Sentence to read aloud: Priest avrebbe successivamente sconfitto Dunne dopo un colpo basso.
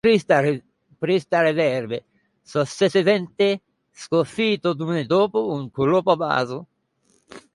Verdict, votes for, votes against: rejected, 0, 2